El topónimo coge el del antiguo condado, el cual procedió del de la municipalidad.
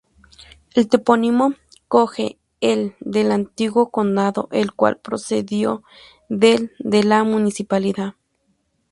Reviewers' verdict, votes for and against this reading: rejected, 2, 2